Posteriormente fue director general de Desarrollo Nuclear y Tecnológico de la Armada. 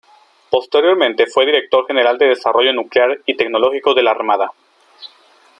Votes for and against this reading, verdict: 2, 0, accepted